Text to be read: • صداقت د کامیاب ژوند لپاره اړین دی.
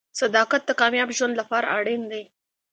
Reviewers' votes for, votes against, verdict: 2, 0, accepted